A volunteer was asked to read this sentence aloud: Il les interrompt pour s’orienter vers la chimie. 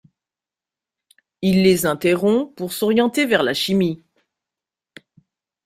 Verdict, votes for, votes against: accepted, 2, 0